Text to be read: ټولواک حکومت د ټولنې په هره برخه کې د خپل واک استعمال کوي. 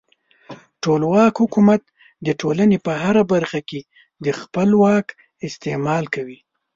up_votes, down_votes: 2, 0